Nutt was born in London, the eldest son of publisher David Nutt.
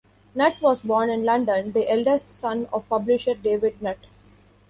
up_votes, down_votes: 2, 0